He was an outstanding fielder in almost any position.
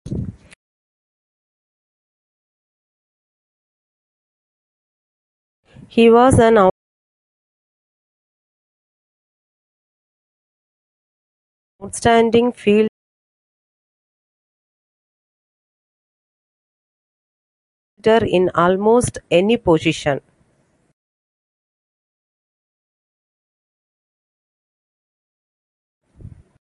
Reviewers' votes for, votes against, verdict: 0, 2, rejected